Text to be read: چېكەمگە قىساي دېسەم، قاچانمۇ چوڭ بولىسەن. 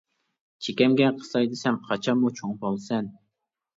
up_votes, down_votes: 2, 0